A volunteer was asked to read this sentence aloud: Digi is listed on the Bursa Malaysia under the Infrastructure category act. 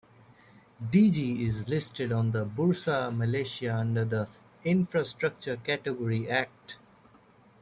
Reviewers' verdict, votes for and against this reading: rejected, 1, 2